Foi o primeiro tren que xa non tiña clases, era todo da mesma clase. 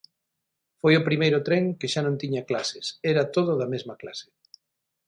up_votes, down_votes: 6, 0